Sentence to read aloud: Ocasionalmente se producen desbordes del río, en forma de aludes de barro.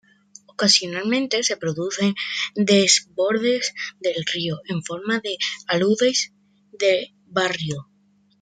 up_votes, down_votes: 1, 2